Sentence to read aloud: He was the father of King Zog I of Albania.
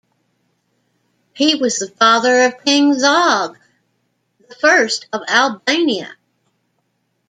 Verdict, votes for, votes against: accepted, 2, 0